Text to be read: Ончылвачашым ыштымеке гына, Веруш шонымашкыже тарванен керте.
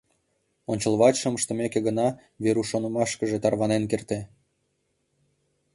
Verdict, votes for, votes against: rejected, 1, 2